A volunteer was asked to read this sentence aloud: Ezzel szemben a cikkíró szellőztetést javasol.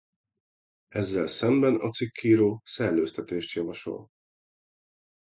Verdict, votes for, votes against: accepted, 2, 1